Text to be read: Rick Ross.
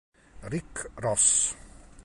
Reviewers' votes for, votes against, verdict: 2, 0, accepted